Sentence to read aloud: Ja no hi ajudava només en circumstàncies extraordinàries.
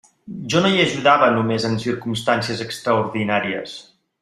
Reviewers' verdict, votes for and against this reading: rejected, 1, 2